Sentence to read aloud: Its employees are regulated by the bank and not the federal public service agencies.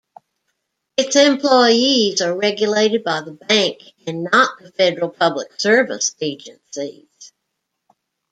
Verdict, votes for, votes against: accepted, 2, 0